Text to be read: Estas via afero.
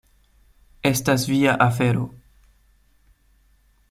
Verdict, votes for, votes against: accepted, 2, 0